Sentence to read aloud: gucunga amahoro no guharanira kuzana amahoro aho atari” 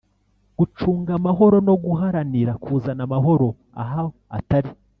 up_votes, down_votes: 0, 2